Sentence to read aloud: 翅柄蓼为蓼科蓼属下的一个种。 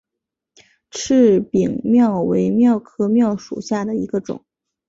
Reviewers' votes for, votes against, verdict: 2, 0, accepted